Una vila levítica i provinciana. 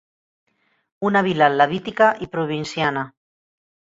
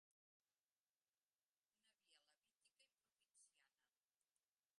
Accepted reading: first